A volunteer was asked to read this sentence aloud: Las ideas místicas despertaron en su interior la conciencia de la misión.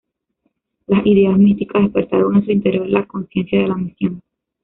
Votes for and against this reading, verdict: 0, 2, rejected